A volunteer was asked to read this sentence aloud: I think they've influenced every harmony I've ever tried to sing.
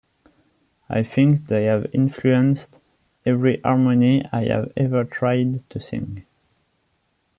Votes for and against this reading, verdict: 1, 2, rejected